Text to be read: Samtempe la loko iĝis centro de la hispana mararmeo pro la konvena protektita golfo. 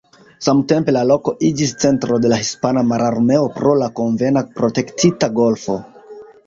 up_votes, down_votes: 2, 1